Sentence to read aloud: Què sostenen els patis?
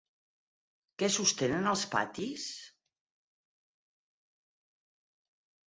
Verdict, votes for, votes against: accepted, 8, 0